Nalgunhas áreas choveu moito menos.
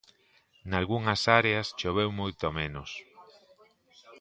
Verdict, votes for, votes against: accepted, 2, 0